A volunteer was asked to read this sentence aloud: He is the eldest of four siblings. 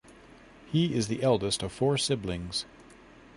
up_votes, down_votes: 2, 0